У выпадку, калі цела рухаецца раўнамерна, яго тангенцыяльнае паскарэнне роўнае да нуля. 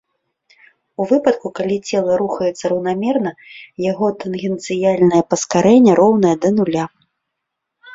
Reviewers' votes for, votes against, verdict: 2, 0, accepted